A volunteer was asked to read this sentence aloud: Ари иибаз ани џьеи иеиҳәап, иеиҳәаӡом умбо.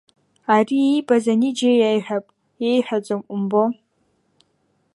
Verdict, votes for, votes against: accepted, 2, 0